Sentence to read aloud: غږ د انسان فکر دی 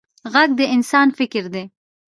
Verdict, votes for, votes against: rejected, 0, 2